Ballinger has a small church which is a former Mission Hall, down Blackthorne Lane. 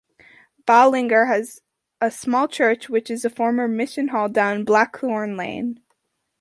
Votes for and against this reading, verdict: 2, 0, accepted